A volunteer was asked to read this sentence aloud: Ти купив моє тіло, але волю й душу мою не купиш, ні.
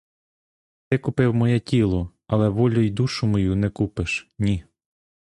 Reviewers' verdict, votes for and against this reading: rejected, 1, 2